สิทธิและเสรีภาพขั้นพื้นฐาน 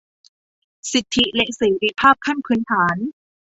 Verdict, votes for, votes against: accepted, 2, 0